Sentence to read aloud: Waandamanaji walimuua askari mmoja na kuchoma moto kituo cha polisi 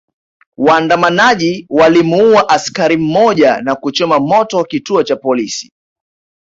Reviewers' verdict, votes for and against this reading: accepted, 2, 0